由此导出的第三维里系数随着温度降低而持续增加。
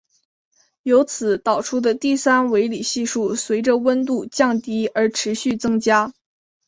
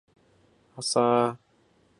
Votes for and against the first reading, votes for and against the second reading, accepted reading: 2, 1, 0, 2, first